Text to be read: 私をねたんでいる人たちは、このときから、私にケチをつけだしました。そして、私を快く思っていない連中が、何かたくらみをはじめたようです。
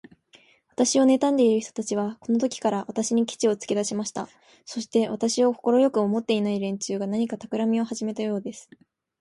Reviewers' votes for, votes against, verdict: 2, 2, rejected